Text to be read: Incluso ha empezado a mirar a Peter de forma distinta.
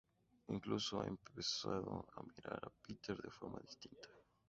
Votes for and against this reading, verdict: 0, 4, rejected